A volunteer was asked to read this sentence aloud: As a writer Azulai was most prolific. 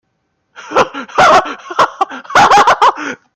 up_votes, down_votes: 0, 3